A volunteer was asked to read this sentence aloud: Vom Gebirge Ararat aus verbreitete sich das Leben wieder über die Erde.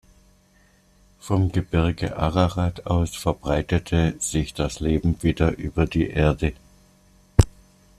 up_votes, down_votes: 2, 0